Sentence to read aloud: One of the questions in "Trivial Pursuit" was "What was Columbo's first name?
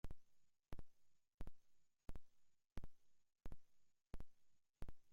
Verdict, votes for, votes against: rejected, 0, 2